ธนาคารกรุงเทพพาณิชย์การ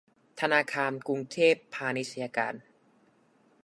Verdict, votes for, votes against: rejected, 1, 2